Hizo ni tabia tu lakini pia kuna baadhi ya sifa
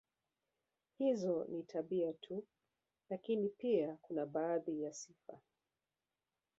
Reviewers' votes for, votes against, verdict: 1, 2, rejected